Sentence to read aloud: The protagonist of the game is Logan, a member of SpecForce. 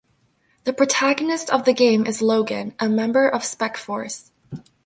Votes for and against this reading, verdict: 1, 2, rejected